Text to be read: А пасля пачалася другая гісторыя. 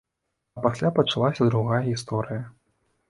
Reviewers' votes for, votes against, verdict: 0, 2, rejected